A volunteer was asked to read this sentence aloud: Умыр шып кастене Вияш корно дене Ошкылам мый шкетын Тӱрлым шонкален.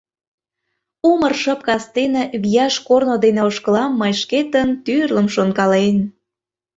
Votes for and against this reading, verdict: 2, 0, accepted